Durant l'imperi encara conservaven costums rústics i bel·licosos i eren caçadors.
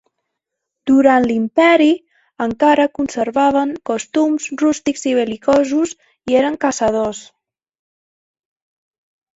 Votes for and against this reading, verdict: 2, 0, accepted